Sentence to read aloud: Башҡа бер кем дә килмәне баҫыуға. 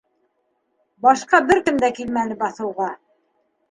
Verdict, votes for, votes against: accepted, 2, 0